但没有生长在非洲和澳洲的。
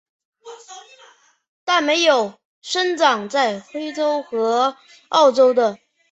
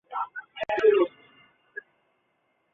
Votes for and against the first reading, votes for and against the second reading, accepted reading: 3, 0, 2, 3, first